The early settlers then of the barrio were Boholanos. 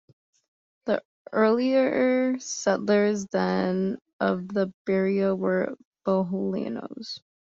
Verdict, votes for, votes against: rejected, 0, 2